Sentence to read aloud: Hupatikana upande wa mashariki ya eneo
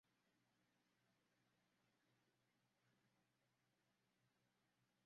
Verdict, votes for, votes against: rejected, 0, 2